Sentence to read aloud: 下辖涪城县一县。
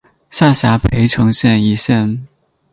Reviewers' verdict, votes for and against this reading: accepted, 8, 0